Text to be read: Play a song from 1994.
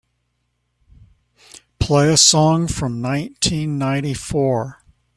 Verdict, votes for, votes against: rejected, 0, 2